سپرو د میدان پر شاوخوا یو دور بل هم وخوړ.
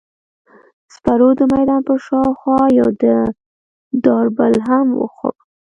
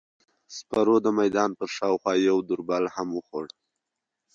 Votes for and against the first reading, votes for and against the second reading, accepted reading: 1, 2, 2, 0, second